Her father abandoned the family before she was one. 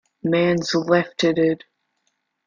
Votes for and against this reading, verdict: 0, 2, rejected